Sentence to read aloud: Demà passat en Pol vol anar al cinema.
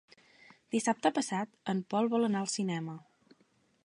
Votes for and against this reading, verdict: 0, 2, rejected